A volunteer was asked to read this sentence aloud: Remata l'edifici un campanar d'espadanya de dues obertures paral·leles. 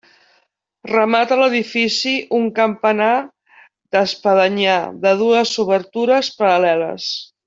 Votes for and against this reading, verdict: 3, 4, rejected